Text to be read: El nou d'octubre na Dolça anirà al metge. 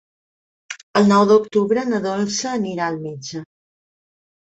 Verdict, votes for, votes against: accepted, 4, 0